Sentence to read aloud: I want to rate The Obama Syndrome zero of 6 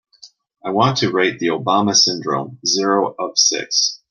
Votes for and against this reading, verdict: 0, 2, rejected